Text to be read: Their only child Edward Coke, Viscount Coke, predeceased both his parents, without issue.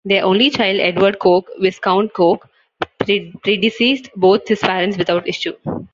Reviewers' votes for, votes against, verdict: 1, 2, rejected